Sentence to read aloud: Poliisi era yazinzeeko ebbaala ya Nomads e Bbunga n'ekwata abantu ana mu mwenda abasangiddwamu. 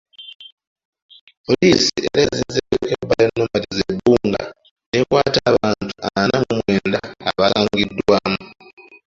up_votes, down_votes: 2, 3